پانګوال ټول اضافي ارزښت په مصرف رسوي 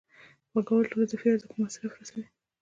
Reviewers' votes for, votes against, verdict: 2, 1, accepted